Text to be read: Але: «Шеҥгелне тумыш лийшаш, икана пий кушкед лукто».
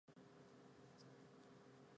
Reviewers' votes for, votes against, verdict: 0, 5, rejected